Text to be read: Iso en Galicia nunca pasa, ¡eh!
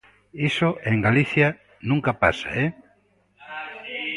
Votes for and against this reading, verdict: 1, 2, rejected